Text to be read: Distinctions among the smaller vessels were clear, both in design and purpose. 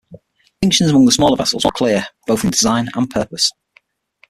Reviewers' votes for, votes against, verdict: 0, 6, rejected